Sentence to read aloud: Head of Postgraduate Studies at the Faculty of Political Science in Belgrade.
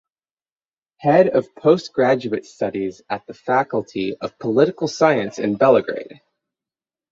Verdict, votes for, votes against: rejected, 3, 6